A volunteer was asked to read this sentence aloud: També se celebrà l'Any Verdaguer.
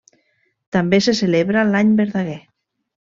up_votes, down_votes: 0, 2